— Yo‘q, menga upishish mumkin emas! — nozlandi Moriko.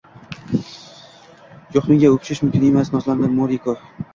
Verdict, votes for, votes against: rejected, 0, 2